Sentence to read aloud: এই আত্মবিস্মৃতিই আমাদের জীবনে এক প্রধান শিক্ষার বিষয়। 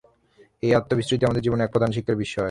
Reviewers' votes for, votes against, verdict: 3, 0, accepted